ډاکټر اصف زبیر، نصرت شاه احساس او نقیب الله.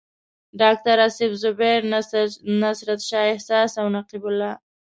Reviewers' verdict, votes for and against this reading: rejected, 1, 2